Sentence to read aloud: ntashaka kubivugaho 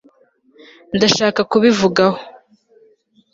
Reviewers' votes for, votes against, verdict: 1, 2, rejected